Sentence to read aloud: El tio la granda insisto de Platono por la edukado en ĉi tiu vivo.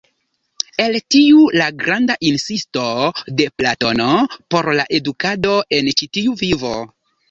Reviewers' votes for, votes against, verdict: 2, 0, accepted